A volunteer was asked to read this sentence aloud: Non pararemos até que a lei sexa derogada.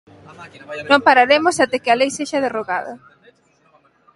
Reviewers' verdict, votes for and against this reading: rejected, 0, 3